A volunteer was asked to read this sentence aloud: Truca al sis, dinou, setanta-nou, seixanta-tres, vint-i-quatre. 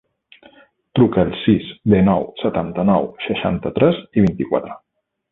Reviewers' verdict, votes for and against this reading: rejected, 0, 2